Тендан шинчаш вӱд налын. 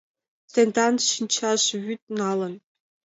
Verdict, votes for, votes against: accepted, 2, 0